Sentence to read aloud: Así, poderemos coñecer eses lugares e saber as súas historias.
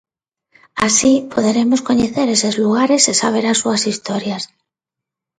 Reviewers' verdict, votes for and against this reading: accepted, 2, 0